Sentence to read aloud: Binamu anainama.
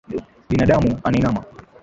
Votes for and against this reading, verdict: 5, 4, accepted